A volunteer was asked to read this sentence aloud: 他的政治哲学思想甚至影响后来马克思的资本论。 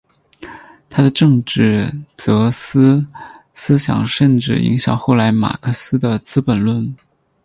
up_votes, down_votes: 4, 2